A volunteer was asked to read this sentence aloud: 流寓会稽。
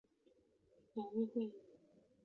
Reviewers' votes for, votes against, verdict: 0, 3, rejected